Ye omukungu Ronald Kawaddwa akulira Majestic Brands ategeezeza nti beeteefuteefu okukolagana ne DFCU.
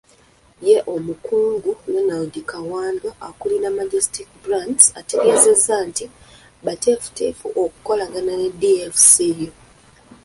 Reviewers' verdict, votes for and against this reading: rejected, 0, 2